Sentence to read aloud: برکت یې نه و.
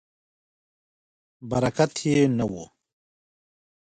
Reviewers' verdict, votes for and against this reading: accepted, 2, 1